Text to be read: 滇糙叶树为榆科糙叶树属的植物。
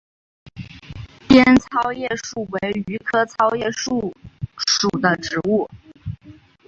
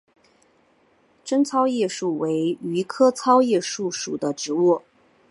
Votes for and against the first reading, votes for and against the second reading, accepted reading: 4, 0, 0, 2, first